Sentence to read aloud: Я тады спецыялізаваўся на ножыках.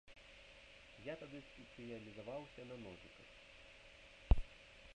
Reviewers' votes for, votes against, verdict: 1, 2, rejected